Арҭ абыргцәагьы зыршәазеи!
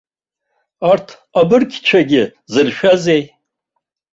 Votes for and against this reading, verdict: 2, 0, accepted